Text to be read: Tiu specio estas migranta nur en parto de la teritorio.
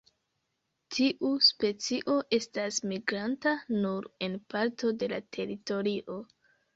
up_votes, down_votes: 2, 0